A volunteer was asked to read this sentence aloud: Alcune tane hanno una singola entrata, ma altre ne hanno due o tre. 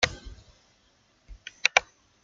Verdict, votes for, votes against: rejected, 0, 2